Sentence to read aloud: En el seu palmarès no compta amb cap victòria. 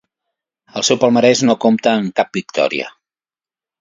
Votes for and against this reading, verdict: 1, 2, rejected